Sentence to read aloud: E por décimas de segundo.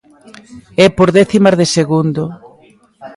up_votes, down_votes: 1, 2